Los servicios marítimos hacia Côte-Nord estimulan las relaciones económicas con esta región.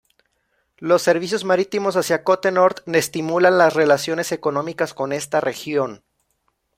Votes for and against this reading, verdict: 0, 2, rejected